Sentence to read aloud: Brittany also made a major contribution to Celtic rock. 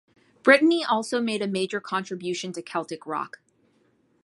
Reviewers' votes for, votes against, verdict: 2, 1, accepted